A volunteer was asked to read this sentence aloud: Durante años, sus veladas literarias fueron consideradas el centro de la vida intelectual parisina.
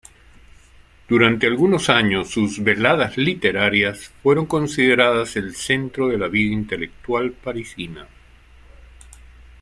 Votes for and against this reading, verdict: 0, 2, rejected